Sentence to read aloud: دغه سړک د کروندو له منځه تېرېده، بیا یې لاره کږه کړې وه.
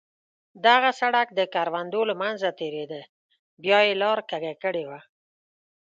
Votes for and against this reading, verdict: 2, 0, accepted